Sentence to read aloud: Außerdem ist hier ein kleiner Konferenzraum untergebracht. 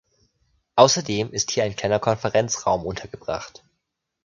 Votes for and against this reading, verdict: 2, 0, accepted